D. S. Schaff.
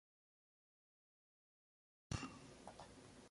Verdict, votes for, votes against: rejected, 0, 2